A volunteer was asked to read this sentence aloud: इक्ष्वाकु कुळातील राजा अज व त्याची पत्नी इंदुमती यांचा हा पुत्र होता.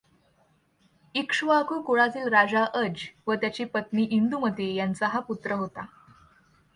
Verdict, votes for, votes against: accepted, 2, 0